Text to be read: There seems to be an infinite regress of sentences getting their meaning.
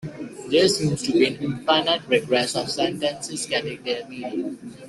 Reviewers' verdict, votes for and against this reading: rejected, 1, 2